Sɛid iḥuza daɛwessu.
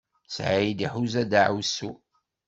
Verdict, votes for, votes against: accepted, 2, 0